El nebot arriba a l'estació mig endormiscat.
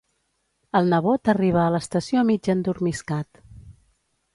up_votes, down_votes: 2, 0